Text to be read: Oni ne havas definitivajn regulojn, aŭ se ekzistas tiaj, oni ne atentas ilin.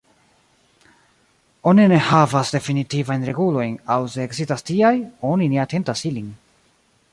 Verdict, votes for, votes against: rejected, 1, 2